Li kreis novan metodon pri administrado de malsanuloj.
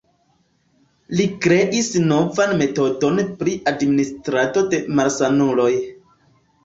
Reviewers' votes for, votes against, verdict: 2, 0, accepted